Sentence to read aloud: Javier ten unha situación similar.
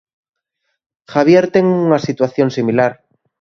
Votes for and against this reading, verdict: 2, 0, accepted